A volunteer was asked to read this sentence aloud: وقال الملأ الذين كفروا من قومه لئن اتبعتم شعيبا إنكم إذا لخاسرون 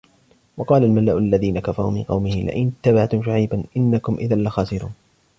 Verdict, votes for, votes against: rejected, 0, 2